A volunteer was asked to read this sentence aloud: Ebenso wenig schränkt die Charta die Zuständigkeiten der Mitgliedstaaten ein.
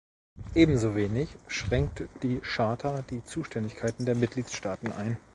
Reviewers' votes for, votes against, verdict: 1, 2, rejected